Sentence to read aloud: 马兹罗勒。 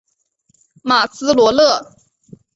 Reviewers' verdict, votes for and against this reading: accepted, 4, 0